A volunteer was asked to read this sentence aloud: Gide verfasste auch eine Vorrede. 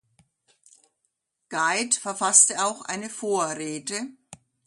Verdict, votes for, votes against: accepted, 2, 0